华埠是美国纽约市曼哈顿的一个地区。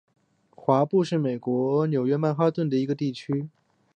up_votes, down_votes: 2, 0